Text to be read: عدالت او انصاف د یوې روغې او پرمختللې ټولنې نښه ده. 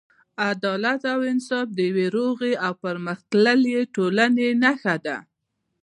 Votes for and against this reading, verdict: 2, 0, accepted